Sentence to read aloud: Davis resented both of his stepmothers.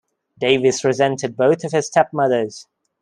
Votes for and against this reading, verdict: 2, 0, accepted